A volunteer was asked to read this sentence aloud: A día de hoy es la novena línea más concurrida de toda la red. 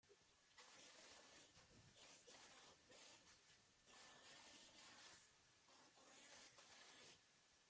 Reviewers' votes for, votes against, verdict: 0, 2, rejected